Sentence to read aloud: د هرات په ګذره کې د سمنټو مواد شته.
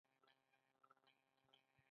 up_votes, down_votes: 2, 0